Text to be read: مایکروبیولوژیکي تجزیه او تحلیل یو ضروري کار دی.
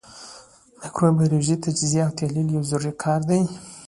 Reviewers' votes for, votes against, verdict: 2, 0, accepted